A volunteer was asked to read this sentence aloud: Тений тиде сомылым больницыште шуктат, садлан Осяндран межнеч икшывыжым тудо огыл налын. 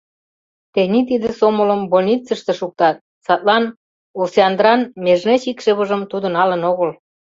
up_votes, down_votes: 0, 2